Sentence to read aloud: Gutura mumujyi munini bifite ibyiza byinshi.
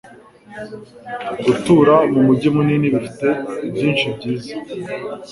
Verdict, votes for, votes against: rejected, 0, 2